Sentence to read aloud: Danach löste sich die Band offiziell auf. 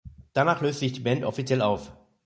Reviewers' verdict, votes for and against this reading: rejected, 0, 2